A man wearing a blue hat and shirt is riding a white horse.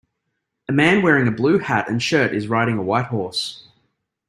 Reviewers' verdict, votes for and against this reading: accepted, 2, 0